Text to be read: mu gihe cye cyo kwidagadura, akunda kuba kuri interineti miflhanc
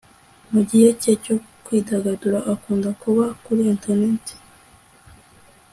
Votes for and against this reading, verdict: 2, 0, accepted